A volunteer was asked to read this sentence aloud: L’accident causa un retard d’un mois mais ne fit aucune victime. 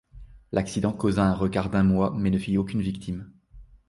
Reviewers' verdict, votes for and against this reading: rejected, 0, 2